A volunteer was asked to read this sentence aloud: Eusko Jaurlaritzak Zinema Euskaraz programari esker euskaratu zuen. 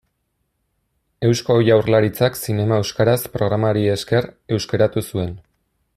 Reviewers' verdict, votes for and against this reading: accepted, 2, 0